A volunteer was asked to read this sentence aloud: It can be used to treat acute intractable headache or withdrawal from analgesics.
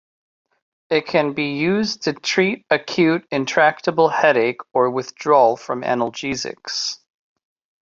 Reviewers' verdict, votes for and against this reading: rejected, 1, 2